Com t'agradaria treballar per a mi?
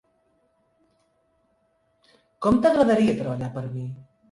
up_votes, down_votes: 0, 2